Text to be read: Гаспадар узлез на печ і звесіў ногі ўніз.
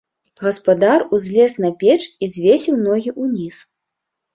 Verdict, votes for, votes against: accepted, 2, 1